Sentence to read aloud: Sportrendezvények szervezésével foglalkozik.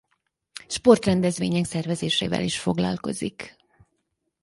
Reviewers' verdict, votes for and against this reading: rejected, 0, 4